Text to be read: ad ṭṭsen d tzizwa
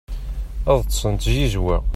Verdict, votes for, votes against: accepted, 2, 0